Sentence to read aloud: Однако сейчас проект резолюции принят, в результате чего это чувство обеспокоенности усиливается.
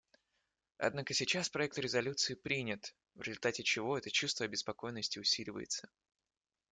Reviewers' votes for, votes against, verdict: 2, 0, accepted